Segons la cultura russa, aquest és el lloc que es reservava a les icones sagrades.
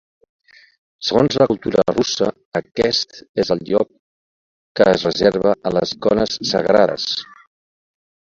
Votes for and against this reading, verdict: 0, 2, rejected